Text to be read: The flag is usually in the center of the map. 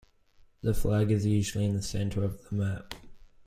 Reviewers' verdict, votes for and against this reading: accepted, 2, 0